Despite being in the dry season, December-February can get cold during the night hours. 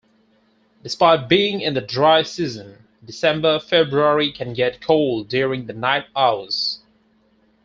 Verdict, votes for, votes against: accepted, 4, 0